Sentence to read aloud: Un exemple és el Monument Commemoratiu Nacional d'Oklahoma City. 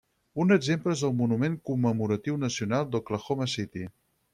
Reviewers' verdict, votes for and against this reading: rejected, 2, 4